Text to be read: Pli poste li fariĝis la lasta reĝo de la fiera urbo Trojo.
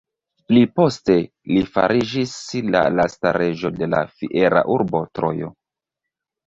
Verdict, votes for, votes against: rejected, 1, 2